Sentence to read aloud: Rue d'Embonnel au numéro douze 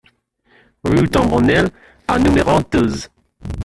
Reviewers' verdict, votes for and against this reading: rejected, 0, 2